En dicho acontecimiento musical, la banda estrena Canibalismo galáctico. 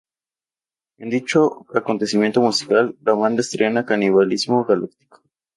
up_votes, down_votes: 0, 4